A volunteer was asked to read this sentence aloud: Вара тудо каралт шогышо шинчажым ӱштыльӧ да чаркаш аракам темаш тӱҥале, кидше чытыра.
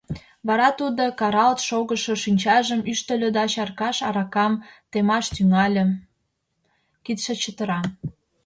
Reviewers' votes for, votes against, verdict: 2, 0, accepted